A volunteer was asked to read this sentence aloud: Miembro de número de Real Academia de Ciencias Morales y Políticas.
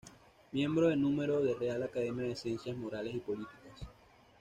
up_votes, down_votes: 2, 1